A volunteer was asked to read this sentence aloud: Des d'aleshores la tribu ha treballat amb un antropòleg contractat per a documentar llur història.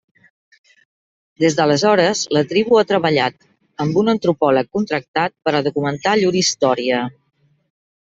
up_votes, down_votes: 2, 0